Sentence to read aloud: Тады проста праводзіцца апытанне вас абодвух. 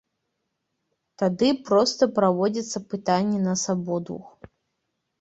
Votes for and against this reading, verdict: 1, 2, rejected